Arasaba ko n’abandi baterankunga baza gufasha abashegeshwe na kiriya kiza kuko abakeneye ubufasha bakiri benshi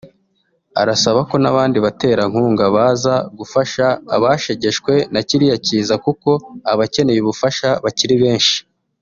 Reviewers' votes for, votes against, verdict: 3, 1, accepted